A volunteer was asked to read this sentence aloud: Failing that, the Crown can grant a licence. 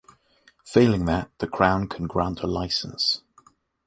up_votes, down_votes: 3, 0